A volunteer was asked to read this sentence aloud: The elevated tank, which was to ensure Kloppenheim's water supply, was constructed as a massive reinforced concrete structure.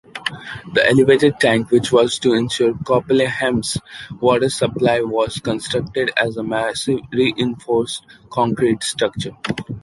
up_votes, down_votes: 2, 1